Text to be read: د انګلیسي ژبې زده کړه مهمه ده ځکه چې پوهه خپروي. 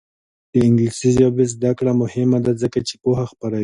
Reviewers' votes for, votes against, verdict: 2, 0, accepted